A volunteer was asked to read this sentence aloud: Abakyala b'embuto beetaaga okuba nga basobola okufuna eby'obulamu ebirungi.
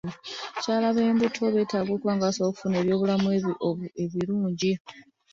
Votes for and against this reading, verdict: 2, 1, accepted